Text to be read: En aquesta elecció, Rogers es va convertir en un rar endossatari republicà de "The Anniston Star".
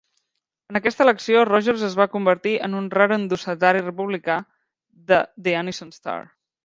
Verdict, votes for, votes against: accepted, 2, 0